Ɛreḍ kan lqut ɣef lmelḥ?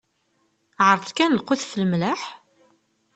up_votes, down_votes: 2, 0